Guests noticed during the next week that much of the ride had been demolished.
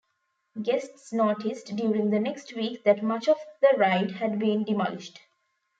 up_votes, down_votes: 2, 0